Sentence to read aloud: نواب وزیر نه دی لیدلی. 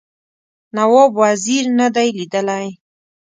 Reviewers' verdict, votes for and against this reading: accepted, 2, 0